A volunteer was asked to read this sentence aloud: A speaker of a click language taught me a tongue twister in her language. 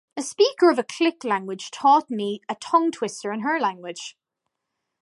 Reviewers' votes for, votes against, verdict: 2, 0, accepted